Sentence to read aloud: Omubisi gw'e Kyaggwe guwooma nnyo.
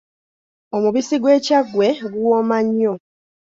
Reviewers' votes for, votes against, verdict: 2, 0, accepted